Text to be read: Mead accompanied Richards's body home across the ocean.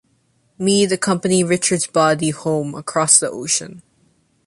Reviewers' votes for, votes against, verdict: 2, 0, accepted